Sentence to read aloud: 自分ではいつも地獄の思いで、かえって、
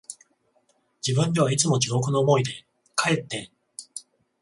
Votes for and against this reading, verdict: 14, 0, accepted